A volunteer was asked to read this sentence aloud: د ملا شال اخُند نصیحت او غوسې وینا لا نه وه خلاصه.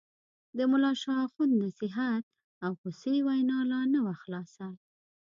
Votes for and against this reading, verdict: 2, 0, accepted